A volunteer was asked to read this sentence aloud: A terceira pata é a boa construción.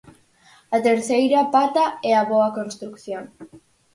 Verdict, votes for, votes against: accepted, 4, 2